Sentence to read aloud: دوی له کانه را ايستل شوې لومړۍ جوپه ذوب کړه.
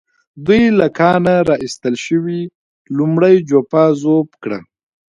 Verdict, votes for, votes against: rejected, 1, 2